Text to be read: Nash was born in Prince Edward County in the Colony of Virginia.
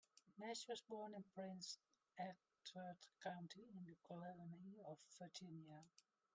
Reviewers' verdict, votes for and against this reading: rejected, 1, 2